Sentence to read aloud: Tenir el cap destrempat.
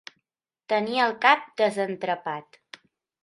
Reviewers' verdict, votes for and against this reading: rejected, 0, 2